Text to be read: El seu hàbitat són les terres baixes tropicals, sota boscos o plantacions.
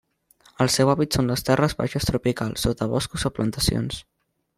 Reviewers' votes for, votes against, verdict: 1, 2, rejected